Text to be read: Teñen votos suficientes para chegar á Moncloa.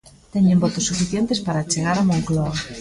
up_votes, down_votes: 2, 0